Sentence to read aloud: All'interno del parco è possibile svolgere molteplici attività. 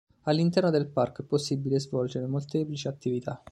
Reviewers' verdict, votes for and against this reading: accepted, 2, 1